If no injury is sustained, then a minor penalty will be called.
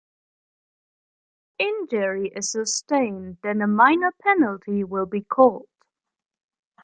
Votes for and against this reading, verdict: 1, 2, rejected